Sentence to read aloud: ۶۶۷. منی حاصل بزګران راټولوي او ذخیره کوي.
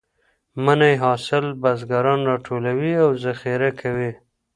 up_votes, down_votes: 0, 2